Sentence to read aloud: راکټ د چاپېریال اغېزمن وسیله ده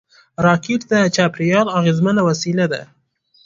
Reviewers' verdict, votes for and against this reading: rejected, 1, 2